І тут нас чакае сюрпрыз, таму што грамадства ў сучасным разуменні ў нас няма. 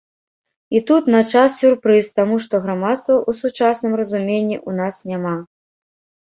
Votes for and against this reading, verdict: 0, 2, rejected